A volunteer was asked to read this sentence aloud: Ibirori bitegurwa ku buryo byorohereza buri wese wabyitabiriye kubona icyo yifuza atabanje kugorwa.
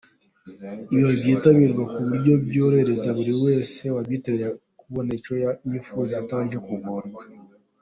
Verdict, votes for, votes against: accepted, 2, 0